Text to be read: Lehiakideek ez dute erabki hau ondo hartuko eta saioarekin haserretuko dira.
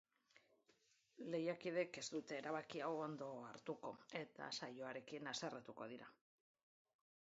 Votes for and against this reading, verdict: 1, 2, rejected